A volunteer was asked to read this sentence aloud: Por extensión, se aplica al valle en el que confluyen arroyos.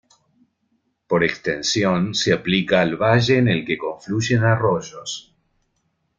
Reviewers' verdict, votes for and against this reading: accepted, 2, 0